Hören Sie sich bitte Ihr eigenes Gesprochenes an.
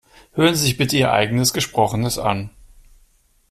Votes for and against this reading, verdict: 2, 0, accepted